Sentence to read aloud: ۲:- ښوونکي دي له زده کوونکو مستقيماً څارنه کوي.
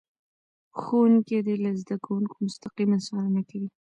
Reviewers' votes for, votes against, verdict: 0, 2, rejected